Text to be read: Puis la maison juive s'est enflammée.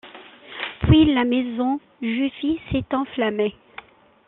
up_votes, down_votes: 0, 2